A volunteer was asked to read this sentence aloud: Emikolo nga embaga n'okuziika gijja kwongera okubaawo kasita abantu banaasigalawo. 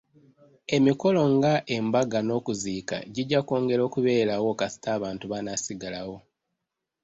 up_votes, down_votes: 1, 2